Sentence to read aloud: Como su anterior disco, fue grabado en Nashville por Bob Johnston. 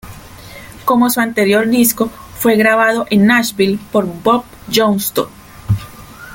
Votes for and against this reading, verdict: 1, 2, rejected